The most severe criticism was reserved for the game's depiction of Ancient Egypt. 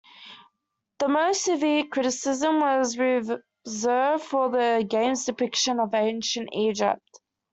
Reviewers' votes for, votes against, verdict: 2, 0, accepted